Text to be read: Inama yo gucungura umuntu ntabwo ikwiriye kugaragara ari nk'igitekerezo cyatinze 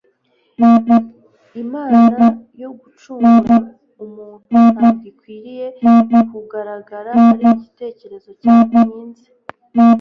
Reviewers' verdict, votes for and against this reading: rejected, 1, 2